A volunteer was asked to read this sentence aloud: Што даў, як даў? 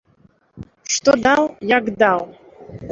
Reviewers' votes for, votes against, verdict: 2, 0, accepted